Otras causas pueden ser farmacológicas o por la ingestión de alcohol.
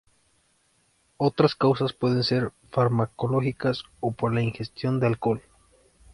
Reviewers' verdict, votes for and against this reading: accepted, 2, 1